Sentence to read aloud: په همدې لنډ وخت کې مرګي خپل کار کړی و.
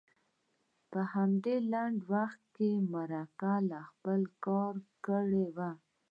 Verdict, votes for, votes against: accepted, 2, 0